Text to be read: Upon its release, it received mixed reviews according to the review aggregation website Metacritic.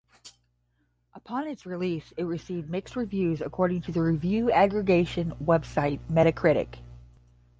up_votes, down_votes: 10, 0